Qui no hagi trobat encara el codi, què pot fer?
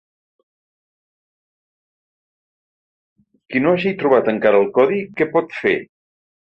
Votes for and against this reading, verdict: 5, 0, accepted